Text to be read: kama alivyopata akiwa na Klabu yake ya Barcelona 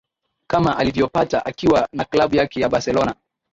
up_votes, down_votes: 2, 0